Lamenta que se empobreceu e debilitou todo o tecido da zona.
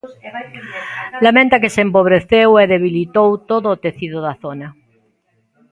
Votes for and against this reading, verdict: 1, 2, rejected